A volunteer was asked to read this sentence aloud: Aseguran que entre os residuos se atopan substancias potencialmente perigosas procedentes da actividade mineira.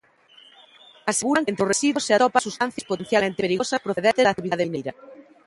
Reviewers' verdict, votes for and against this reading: rejected, 0, 2